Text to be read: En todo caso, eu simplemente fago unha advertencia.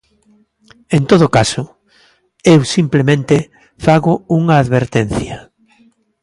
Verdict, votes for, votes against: accepted, 2, 0